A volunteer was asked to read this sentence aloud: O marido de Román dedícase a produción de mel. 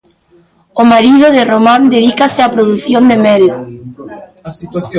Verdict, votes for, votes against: rejected, 0, 2